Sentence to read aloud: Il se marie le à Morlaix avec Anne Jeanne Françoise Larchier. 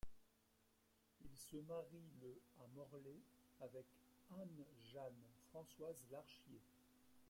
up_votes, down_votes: 1, 2